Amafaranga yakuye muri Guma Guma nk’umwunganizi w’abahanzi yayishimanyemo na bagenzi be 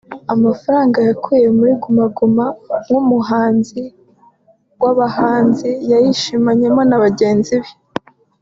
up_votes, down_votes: 2, 1